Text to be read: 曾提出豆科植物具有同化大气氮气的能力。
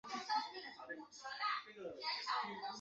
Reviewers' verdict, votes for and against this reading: rejected, 1, 3